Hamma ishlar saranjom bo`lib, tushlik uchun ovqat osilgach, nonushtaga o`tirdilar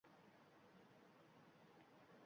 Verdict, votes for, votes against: rejected, 0, 2